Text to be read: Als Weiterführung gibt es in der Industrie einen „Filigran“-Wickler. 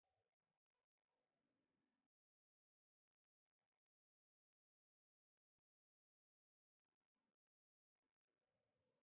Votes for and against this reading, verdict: 0, 2, rejected